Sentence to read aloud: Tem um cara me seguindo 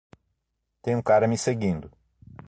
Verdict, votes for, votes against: accepted, 3, 0